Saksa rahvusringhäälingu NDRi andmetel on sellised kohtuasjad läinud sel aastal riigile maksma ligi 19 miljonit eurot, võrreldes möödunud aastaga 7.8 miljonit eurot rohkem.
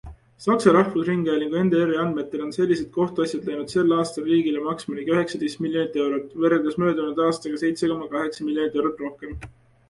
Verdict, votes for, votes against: rejected, 0, 2